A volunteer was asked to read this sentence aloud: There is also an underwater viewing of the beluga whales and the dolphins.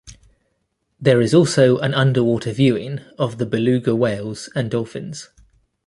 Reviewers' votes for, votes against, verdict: 1, 2, rejected